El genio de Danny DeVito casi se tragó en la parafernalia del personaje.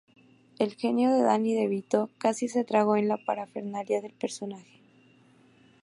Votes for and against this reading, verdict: 2, 0, accepted